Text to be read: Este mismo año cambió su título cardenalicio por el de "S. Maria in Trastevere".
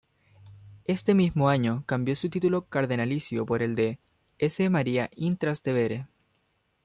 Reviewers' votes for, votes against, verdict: 2, 0, accepted